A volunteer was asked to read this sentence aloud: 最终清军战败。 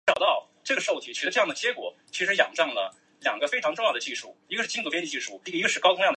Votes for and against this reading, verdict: 0, 2, rejected